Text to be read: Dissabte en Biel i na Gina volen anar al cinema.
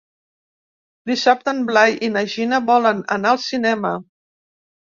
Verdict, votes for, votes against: rejected, 1, 2